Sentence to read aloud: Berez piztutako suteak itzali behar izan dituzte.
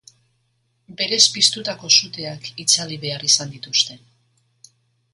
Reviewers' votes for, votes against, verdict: 2, 0, accepted